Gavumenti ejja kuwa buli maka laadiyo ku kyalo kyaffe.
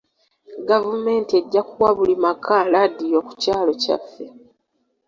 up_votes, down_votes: 3, 0